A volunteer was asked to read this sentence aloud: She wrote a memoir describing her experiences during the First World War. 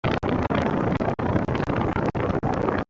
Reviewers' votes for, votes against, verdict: 0, 2, rejected